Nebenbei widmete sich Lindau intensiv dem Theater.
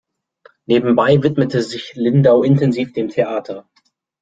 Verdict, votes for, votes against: accepted, 2, 0